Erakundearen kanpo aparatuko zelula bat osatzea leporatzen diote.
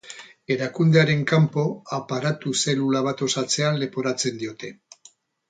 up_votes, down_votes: 0, 2